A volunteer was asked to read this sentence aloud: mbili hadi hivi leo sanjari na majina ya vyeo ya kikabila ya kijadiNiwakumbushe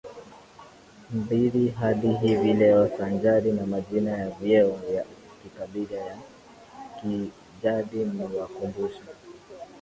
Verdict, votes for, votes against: rejected, 1, 2